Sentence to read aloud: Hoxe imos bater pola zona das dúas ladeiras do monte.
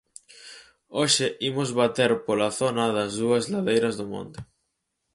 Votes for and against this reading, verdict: 4, 0, accepted